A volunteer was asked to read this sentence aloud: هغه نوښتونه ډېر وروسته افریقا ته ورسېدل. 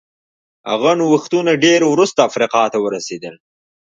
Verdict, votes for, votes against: accepted, 2, 0